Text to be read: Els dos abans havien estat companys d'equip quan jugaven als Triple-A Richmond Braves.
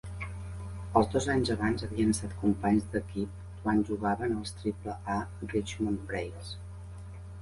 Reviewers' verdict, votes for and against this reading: rejected, 0, 4